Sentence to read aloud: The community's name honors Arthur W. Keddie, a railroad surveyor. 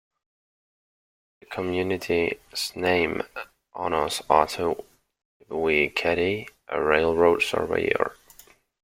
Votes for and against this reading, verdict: 0, 2, rejected